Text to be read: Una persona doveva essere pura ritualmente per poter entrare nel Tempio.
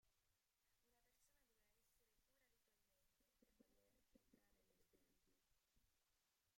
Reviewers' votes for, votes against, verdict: 0, 2, rejected